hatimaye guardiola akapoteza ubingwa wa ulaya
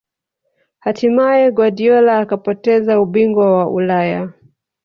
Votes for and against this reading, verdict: 2, 0, accepted